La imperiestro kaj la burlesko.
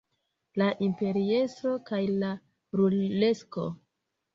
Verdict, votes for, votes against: rejected, 1, 2